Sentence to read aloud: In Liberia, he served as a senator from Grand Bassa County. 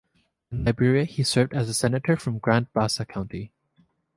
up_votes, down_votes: 2, 0